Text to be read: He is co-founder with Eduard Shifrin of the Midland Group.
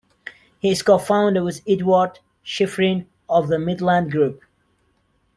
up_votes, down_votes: 2, 0